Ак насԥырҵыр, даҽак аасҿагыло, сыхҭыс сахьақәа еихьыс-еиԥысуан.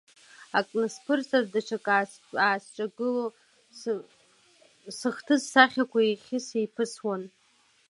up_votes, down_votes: 0, 2